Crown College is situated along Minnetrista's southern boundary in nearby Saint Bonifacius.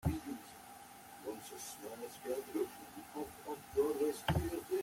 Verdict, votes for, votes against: rejected, 1, 2